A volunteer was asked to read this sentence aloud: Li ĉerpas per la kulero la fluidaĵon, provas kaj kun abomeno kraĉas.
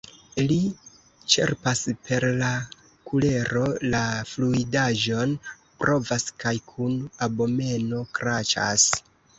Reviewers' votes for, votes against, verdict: 1, 2, rejected